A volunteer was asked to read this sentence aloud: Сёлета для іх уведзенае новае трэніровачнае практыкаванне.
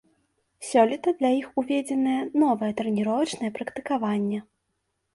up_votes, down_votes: 2, 0